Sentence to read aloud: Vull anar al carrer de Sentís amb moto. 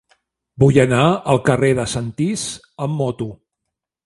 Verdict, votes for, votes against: accepted, 2, 0